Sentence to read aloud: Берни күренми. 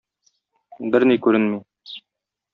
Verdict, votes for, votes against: accepted, 2, 0